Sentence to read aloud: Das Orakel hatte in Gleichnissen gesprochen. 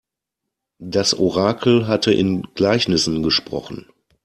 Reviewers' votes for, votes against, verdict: 2, 0, accepted